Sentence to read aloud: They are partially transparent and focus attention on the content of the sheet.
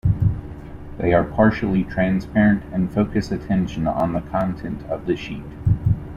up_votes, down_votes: 2, 0